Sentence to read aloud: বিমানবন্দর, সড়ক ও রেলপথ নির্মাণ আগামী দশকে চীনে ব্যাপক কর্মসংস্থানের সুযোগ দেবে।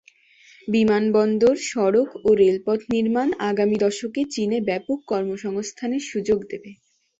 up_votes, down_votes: 2, 0